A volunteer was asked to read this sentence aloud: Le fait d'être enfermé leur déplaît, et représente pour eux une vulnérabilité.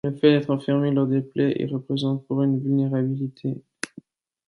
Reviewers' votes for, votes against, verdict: 1, 2, rejected